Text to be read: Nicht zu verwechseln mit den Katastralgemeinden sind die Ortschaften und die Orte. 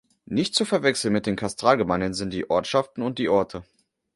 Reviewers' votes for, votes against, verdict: 2, 0, accepted